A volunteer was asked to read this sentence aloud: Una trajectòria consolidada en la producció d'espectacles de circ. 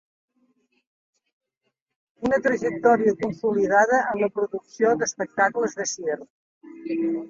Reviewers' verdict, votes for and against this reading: accepted, 2, 1